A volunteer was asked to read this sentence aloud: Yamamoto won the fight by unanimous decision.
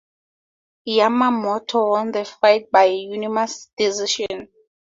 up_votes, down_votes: 2, 2